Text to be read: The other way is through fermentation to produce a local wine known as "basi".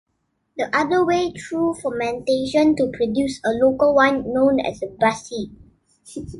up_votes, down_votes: 1, 2